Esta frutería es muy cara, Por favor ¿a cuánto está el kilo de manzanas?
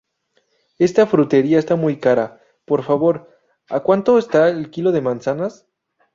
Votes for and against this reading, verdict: 0, 2, rejected